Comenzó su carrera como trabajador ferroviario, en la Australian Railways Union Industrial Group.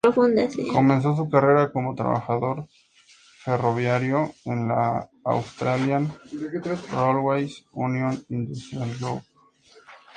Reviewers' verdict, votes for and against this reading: rejected, 0, 2